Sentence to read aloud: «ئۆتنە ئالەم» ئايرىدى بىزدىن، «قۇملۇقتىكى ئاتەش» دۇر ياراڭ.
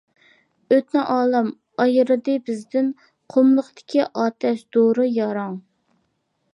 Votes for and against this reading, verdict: 0, 2, rejected